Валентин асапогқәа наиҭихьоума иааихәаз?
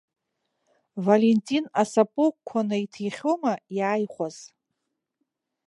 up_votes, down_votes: 1, 2